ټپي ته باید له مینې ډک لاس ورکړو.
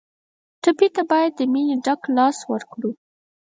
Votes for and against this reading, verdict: 2, 4, rejected